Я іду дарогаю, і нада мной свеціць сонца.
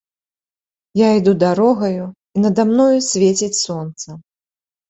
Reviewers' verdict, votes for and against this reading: accepted, 2, 1